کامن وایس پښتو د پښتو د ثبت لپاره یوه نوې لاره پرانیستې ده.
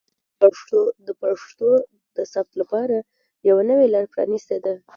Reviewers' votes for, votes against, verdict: 1, 2, rejected